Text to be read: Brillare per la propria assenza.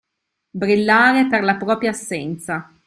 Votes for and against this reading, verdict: 2, 0, accepted